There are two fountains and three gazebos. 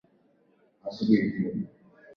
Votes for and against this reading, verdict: 0, 4, rejected